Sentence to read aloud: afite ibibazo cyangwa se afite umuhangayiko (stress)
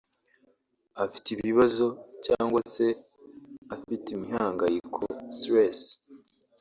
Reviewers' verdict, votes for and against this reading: rejected, 1, 2